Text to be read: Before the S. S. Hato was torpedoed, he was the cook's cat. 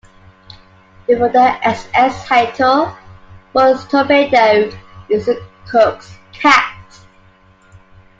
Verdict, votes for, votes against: accepted, 2, 1